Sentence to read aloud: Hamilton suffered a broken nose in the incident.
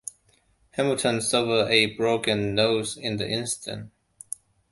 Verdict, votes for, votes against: rejected, 0, 2